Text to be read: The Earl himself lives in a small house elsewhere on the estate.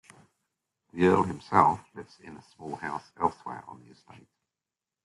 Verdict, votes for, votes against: rejected, 1, 2